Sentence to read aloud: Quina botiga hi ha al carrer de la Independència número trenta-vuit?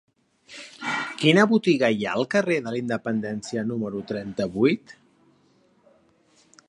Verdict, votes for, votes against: accepted, 3, 0